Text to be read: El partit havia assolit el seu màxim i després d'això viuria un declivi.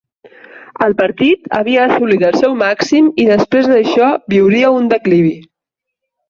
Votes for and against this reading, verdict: 4, 1, accepted